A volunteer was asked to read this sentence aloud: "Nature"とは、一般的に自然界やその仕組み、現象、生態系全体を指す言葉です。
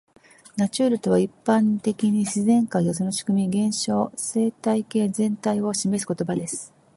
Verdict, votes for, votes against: rejected, 1, 2